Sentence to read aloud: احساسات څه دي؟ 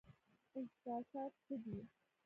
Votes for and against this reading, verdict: 1, 2, rejected